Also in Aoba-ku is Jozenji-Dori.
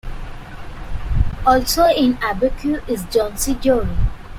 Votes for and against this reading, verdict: 1, 2, rejected